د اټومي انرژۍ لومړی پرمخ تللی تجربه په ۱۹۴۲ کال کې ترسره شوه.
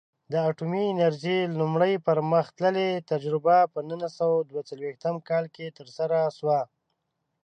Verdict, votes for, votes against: rejected, 0, 2